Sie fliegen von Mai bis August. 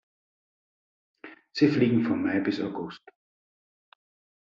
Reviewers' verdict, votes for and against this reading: accepted, 2, 0